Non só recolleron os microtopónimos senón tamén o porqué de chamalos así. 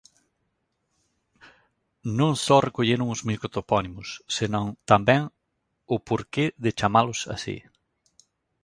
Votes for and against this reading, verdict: 0, 2, rejected